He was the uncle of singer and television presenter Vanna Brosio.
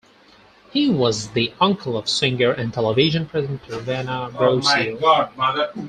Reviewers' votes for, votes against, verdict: 0, 4, rejected